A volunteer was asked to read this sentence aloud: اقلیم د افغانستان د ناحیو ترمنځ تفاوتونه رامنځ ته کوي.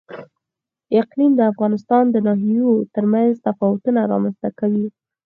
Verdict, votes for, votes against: accepted, 4, 0